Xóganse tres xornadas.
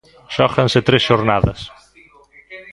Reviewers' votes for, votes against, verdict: 2, 0, accepted